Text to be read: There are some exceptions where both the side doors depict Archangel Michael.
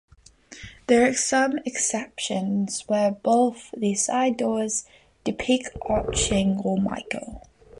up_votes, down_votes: 2, 3